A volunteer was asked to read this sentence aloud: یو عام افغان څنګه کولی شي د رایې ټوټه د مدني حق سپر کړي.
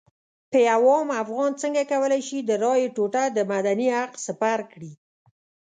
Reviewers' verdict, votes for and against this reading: accepted, 2, 0